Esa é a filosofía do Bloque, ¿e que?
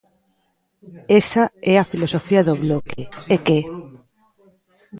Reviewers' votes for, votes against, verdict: 2, 1, accepted